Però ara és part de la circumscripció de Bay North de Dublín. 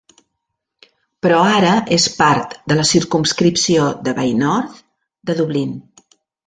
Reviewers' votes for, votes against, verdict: 3, 0, accepted